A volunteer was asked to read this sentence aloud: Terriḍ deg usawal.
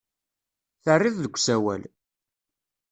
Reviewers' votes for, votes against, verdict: 2, 0, accepted